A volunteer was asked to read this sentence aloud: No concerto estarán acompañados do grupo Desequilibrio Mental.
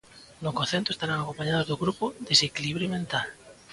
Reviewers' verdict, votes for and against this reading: accepted, 2, 0